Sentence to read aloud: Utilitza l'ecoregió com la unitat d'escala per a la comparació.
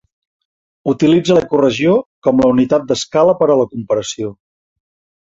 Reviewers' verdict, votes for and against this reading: accepted, 3, 0